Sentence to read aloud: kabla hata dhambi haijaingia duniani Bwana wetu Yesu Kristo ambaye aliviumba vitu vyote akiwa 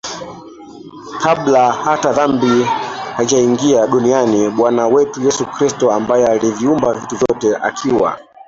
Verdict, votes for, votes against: rejected, 0, 2